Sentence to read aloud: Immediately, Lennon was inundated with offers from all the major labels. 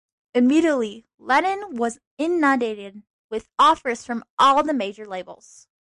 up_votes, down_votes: 1, 2